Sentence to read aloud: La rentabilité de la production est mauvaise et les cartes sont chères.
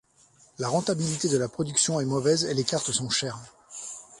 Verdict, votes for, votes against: accepted, 2, 0